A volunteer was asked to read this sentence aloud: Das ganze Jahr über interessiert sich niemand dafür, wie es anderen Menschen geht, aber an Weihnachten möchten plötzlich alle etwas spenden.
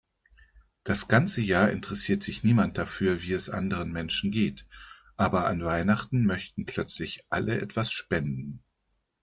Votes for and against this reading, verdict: 1, 2, rejected